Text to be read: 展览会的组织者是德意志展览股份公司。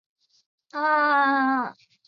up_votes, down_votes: 0, 2